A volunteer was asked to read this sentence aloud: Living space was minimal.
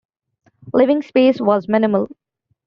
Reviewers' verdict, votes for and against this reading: accepted, 2, 1